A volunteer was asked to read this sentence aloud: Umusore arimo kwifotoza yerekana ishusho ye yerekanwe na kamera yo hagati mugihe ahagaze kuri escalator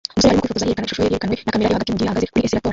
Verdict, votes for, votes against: rejected, 0, 2